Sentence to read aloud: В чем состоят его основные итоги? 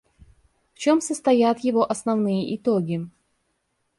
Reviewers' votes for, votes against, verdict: 2, 0, accepted